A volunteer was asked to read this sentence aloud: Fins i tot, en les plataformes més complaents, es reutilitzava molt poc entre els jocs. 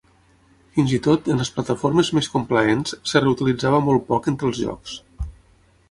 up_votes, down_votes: 0, 9